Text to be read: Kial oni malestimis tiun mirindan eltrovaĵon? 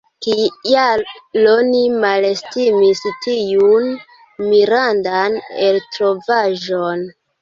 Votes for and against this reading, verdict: 1, 2, rejected